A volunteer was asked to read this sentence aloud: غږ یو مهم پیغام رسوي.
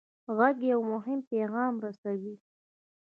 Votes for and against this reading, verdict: 2, 0, accepted